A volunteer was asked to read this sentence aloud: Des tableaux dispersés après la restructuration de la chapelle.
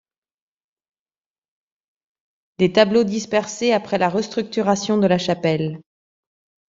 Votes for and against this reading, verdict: 2, 0, accepted